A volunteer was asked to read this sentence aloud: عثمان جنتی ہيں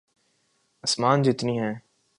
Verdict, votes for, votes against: rejected, 1, 2